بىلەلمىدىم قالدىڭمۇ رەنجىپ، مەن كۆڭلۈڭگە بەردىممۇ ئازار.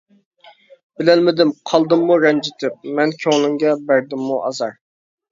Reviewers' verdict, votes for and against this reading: rejected, 0, 2